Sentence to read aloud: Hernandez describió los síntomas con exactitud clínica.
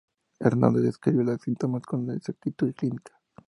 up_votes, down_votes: 0, 2